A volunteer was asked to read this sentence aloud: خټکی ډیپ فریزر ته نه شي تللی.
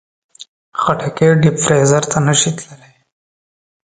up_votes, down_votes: 2, 0